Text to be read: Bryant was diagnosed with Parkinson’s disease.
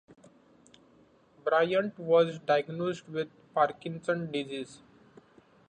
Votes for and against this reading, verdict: 2, 0, accepted